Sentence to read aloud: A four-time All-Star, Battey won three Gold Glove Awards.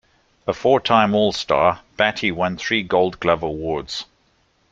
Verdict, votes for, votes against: accepted, 2, 0